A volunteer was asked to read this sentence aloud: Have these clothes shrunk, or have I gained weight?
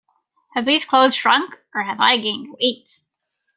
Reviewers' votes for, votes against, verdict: 2, 0, accepted